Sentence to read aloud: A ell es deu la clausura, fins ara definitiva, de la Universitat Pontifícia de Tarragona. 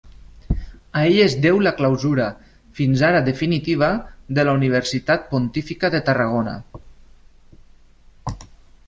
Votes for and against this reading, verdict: 0, 2, rejected